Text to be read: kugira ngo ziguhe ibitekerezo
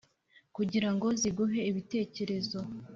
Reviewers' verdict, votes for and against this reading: accepted, 4, 0